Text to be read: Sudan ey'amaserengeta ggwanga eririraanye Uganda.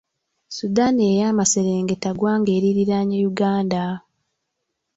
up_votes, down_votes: 0, 2